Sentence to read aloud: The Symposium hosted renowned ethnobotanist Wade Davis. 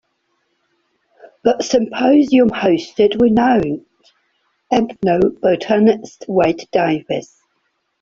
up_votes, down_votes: 1, 2